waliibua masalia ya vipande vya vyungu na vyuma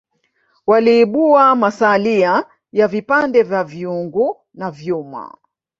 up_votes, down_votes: 0, 2